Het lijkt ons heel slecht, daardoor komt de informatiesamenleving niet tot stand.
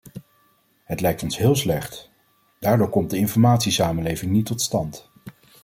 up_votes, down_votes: 2, 0